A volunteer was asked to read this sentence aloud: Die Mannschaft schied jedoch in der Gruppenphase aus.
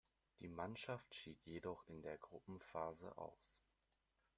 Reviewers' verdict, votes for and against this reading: accepted, 2, 0